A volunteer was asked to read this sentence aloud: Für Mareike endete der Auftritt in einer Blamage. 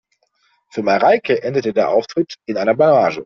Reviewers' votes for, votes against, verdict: 4, 0, accepted